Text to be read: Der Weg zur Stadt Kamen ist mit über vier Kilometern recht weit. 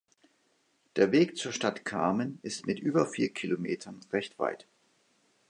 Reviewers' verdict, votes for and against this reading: accepted, 3, 0